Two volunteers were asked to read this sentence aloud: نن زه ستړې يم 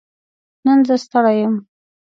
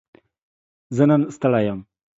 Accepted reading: first